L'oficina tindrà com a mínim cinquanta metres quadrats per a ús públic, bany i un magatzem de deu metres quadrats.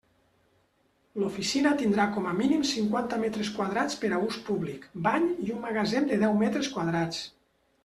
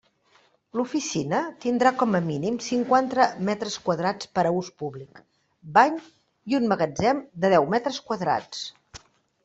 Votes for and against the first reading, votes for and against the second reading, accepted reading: 2, 0, 1, 2, first